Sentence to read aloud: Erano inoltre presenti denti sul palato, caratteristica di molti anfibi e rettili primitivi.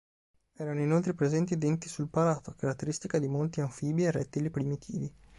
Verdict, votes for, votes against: accepted, 3, 0